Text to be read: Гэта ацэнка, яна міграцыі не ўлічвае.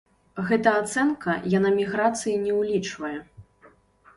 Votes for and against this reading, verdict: 2, 0, accepted